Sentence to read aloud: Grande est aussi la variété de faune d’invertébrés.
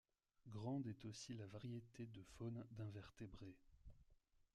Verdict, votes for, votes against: rejected, 1, 2